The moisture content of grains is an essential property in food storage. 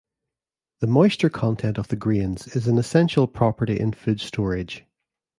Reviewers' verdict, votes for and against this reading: rejected, 1, 2